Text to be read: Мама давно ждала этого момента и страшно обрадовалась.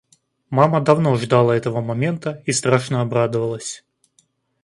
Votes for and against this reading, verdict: 2, 0, accepted